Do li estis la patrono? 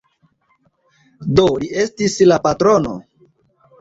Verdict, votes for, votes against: accepted, 2, 0